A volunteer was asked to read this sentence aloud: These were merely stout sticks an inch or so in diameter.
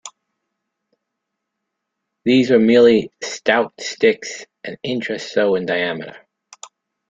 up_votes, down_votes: 2, 1